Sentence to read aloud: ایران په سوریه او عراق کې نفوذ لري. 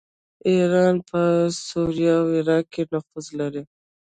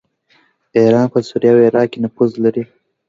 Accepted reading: second